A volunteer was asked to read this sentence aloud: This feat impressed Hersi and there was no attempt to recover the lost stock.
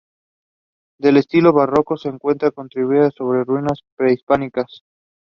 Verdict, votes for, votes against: rejected, 1, 2